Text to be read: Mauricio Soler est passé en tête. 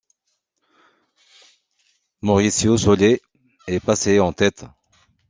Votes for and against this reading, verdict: 2, 1, accepted